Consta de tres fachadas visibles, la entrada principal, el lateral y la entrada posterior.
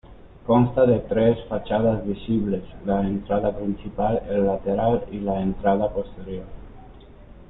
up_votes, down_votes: 2, 0